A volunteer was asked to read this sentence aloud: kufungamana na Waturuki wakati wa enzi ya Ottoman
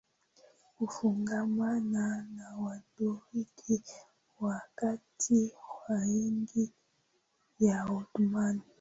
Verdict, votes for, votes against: accepted, 4, 1